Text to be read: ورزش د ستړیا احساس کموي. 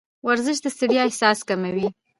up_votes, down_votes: 2, 1